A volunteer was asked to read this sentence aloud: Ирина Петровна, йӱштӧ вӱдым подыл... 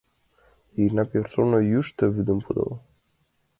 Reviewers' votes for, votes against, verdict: 2, 0, accepted